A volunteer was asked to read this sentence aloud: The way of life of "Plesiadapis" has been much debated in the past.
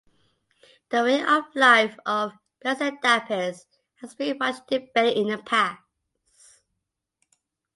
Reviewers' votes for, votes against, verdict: 2, 0, accepted